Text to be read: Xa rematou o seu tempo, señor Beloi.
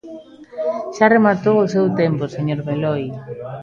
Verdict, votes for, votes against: rejected, 1, 2